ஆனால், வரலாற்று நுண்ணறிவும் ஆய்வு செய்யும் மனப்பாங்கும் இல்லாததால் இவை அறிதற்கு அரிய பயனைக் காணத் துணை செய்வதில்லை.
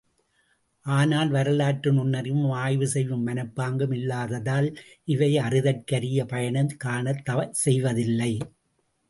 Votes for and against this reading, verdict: 0, 2, rejected